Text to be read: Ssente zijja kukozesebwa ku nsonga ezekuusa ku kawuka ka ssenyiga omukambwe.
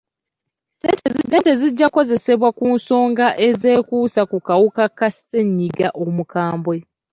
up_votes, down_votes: 1, 2